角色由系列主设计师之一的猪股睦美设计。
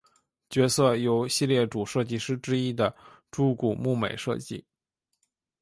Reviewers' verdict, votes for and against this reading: accepted, 4, 2